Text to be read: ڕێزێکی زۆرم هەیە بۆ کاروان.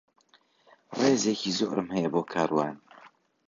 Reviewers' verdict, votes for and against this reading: rejected, 1, 2